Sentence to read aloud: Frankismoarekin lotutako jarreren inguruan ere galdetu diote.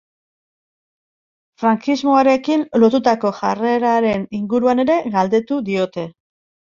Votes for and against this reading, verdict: 0, 2, rejected